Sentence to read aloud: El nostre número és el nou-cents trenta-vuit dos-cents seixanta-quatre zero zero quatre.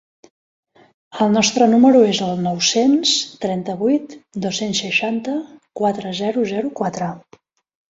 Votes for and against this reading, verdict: 2, 1, accepted